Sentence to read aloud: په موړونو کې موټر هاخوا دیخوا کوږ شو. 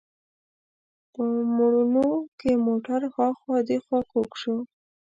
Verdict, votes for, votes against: rejected, 1, 2